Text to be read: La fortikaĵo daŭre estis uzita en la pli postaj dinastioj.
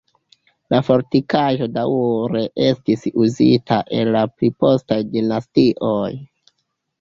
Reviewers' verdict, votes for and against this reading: accepted, 2, 0